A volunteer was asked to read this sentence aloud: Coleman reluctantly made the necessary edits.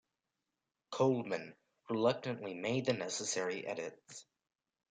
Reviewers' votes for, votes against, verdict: 2, 1, accepted